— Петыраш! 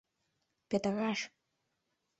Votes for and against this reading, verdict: 1, 2, rejected